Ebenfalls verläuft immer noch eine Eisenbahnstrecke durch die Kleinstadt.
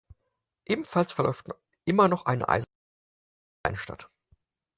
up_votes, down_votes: 0, 4